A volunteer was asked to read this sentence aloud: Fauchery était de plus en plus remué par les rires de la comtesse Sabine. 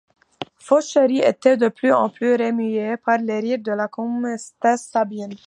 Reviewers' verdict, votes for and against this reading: rejected, 0, 2